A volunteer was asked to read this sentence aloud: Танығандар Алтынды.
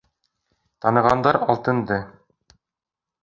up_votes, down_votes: 2, 0